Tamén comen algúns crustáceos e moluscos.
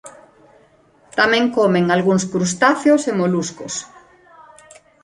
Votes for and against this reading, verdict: 2, 1, accepted